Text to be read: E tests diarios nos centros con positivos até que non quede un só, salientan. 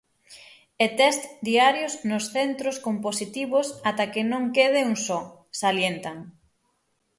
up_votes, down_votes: 6, 0